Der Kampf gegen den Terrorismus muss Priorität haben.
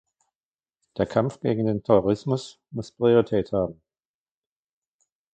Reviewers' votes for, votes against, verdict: 2, 1, accepted